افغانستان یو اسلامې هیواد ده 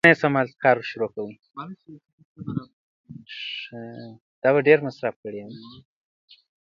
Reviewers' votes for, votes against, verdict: 0, 2, rejected